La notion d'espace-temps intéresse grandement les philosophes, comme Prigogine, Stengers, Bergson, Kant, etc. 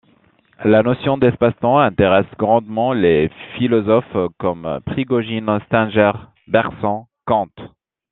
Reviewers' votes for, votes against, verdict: 1, 2, rejected